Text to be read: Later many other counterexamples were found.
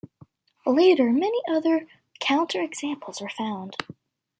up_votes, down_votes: 2, 0